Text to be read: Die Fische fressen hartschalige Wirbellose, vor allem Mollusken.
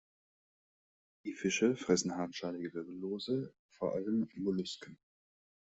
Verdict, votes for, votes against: accepted, 2, 0